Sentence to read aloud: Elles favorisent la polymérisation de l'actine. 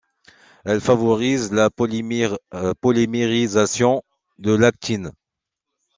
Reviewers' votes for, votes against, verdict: 1, 2, rejected